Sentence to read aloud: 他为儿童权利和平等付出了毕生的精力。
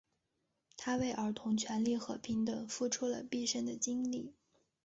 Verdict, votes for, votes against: accepted, 3, 0